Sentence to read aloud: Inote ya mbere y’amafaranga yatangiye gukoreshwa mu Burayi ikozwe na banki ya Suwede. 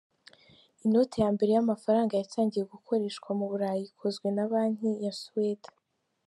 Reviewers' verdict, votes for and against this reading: accepted, 2, 0